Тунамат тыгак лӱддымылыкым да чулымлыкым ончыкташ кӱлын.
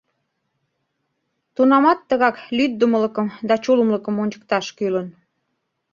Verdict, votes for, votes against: accepted, 2, 0